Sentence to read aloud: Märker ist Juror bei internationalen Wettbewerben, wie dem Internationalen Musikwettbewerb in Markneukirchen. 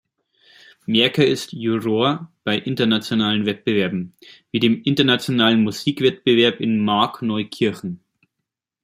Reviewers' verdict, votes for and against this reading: accepted, 2, 1